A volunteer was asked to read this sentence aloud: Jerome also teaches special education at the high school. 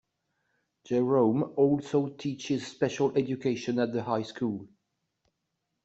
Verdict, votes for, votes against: accepted, 2, 0